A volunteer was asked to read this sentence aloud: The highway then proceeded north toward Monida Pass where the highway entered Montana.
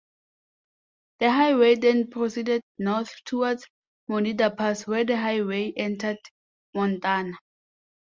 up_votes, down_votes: 2, 1